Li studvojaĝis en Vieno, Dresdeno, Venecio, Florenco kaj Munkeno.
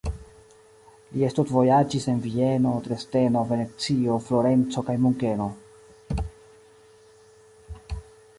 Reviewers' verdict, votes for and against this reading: accepted, 2, 0